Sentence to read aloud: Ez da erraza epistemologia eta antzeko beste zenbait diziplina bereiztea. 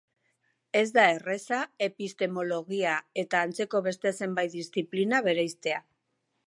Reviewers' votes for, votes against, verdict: 4, 5, rejected